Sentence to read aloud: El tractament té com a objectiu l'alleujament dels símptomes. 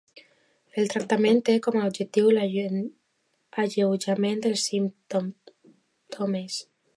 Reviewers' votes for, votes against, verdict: 0, 2, rejected